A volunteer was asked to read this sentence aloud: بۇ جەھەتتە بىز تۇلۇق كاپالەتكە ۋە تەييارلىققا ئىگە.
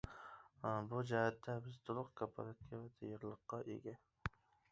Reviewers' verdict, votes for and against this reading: rejected, 1, 2